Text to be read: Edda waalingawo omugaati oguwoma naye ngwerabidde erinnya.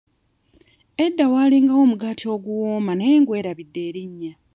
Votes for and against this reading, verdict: 2, 0, accepted